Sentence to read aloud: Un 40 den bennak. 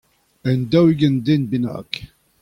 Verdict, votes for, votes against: rejected, 0, 2